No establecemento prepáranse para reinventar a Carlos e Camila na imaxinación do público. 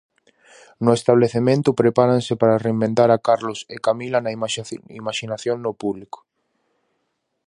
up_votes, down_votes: 0, 4